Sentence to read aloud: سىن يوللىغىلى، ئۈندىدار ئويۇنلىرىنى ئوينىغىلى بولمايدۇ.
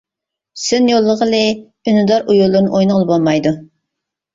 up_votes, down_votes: 2, 1